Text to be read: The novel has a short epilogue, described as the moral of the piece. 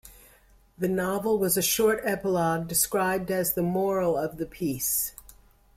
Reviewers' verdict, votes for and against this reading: accepted, 2, 1